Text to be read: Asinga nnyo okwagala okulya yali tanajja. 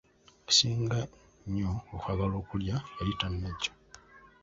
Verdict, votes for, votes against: rejected, 1, 2